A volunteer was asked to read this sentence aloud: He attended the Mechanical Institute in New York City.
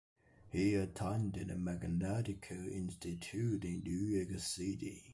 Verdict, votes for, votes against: rejected, 1, 2